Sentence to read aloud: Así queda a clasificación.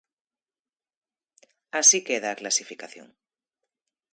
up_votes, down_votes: 2, 0